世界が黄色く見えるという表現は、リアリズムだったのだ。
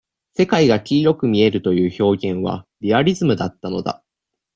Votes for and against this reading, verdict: 2, 0, accepted